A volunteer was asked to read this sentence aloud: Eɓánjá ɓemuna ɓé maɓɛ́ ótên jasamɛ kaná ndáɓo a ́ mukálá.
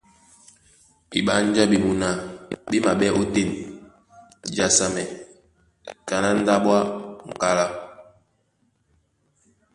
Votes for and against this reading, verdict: 1, 2, rejected